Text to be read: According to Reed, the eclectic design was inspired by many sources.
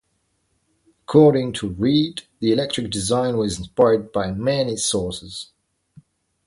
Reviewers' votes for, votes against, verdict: 0, 2, rejected